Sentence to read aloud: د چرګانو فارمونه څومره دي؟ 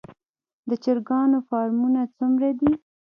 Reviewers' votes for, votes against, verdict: 0, 2, rejected